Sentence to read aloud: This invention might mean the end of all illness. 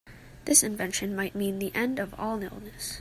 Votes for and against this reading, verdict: 1, 2, rejected